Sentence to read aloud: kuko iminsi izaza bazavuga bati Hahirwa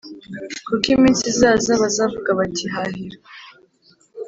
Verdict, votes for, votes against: accepted, 3, 0